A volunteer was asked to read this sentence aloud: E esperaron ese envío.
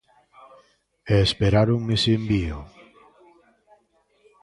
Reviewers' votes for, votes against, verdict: 2, 0, accepted